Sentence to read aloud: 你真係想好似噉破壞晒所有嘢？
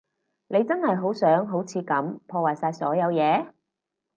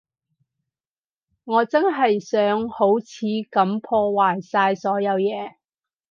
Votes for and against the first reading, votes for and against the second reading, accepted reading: 4, 0, 4, 4, first